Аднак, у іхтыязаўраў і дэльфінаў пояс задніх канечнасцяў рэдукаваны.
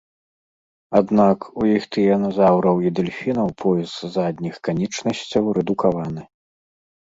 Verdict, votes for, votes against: rejected, 1, 2